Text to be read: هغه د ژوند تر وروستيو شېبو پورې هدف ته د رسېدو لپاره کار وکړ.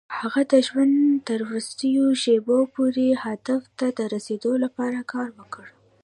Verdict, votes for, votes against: rejected, 0, 2